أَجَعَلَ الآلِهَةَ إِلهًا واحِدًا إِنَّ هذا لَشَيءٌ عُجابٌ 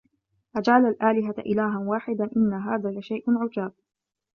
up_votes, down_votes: 0, 2